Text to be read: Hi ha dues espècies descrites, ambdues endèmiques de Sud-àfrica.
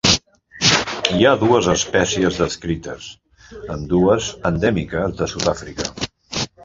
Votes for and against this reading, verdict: 1, 2, rejected